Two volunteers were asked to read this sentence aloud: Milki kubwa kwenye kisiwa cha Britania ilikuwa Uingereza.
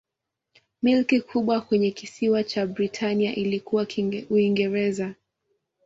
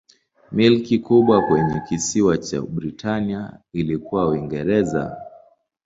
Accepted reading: second